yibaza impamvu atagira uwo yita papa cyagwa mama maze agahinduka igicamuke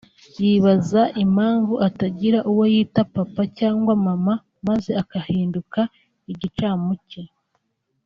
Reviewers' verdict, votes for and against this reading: rejected, 1, 2